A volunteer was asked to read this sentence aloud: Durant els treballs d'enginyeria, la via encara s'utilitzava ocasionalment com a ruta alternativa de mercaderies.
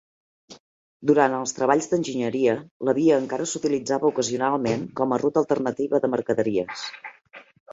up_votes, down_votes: 2, 0